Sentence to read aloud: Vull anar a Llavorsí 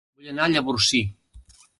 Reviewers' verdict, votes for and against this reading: rejected, 1, 2